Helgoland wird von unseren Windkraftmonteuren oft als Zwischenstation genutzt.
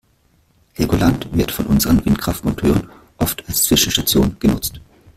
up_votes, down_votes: 1, 2